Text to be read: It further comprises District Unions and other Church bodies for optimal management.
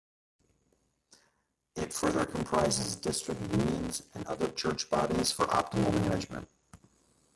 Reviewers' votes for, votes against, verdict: 0, 2, rejected